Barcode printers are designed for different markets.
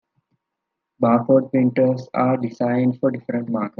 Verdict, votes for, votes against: rejected, 1, 2